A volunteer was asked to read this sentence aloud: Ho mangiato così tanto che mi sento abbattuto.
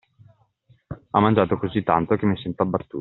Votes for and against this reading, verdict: 0, 2, rejected